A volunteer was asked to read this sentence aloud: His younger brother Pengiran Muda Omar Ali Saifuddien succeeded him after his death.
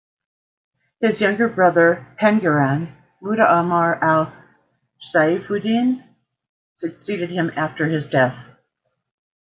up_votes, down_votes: 1, 2